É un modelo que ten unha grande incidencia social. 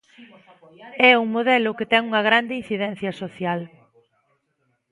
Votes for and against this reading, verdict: 1, 2, rejected